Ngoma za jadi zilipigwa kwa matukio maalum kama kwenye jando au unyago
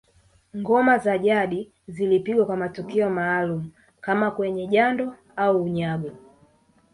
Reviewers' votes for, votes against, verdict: 4, 1, accepted